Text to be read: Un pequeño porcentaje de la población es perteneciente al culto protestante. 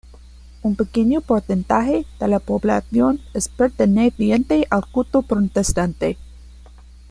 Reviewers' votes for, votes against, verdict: 2, 1, accepted